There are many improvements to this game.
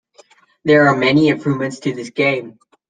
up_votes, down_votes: 2, 0